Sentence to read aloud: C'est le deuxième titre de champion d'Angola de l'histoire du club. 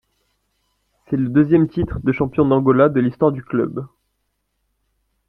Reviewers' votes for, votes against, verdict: 2, 0, accepted